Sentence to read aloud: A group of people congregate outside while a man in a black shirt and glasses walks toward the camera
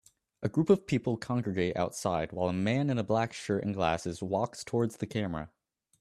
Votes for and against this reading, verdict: 0, 2, rejected